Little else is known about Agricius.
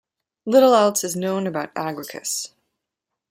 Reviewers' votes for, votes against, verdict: 1, 2, rejected